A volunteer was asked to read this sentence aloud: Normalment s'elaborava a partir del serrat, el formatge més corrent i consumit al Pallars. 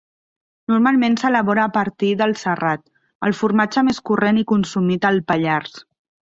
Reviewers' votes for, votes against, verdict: 0, 2, rejected